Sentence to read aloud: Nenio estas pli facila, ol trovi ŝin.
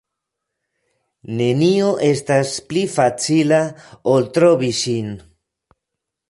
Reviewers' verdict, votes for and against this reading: accepted, 2, 1